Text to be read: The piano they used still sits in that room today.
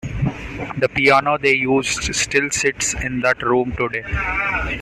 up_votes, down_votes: 2, 0